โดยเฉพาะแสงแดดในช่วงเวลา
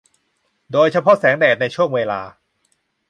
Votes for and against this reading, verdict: 4, 0, accepted